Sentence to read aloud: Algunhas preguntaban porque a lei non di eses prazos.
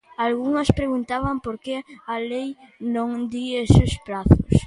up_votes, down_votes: 2, 0